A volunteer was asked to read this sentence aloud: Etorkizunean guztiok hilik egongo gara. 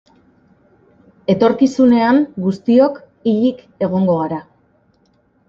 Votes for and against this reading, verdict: 2, 0, accepted